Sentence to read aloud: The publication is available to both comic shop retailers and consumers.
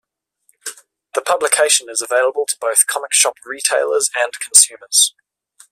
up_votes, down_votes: 2, 1